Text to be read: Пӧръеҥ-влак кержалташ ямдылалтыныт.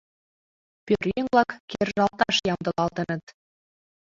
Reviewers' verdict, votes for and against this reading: accepted, 2, 1